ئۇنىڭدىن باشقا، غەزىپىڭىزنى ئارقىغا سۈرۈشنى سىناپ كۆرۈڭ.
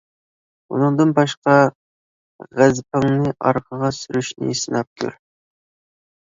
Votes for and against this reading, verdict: 0, 2, rejected